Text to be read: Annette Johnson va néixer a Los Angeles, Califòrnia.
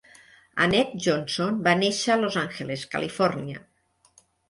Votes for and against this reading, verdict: 2, 0, accepted